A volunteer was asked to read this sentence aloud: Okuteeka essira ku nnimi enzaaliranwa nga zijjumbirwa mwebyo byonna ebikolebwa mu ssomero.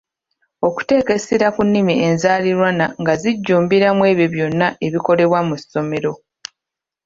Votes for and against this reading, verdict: 1, 2, rejected